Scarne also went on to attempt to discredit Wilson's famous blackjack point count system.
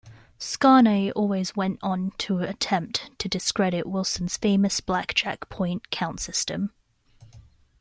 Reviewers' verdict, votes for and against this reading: rejected, 1, 2